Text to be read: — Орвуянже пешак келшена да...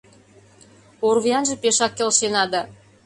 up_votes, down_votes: 2, 0